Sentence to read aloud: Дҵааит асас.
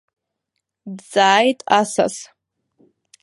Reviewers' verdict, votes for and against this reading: accepted, 2, 1